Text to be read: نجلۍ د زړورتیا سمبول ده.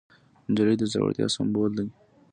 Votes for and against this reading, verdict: 2, 0, accepted